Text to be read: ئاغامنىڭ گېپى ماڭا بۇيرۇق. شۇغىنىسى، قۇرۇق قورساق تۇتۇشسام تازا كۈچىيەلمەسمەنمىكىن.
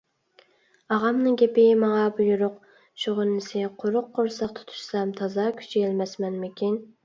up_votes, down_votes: 2, 0